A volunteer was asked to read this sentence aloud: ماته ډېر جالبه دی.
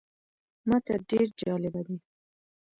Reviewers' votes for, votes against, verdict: 0, 2, rejected